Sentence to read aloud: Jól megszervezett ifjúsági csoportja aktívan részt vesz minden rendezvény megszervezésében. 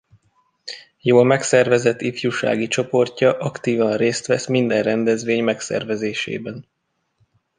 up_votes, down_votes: 0, 2